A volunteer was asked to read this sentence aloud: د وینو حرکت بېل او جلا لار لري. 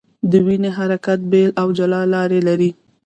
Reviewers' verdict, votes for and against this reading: accepted, 2, 0